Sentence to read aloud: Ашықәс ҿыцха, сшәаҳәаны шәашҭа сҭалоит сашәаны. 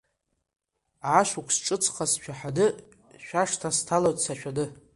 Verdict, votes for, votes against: accepted, 2, 0